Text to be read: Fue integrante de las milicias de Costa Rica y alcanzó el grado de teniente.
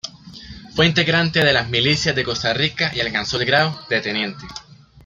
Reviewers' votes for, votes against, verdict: 2, 0, accepted